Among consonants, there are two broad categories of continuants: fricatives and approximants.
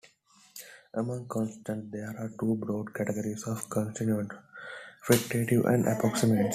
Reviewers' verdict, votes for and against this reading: rejected, 1, 3